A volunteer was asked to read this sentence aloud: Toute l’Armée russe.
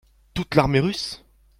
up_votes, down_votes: 2, 1